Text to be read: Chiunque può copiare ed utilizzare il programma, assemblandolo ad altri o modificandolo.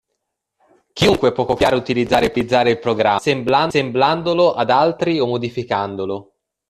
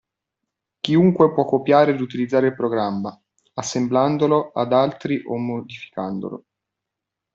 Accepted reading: second